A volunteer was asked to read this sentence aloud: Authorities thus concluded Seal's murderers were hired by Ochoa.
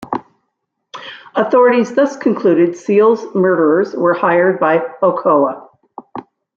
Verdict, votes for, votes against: rejected, 0, 2